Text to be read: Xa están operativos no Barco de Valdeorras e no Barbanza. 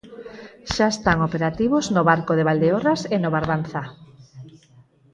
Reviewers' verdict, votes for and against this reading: accepted, 6, 0